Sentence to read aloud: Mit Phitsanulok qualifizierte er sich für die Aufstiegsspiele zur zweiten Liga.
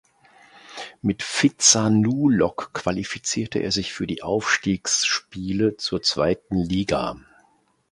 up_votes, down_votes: 2, 1